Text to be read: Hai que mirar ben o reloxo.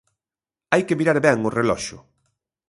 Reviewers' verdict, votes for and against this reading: accepted, 2, 0